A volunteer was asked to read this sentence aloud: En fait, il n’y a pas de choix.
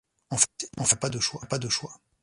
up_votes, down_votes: 1, 2